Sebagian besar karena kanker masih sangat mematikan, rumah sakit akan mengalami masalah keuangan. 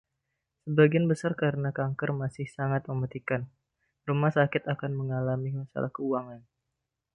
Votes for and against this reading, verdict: 1, 2, rejected